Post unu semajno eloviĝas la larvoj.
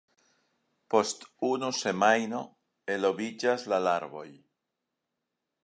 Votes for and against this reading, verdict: 3, 0, accepted